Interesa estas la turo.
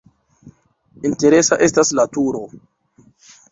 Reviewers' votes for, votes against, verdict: 2, 0, accepted